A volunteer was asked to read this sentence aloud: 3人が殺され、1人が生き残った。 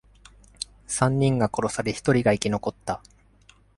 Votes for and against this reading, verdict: 0, 2, rejected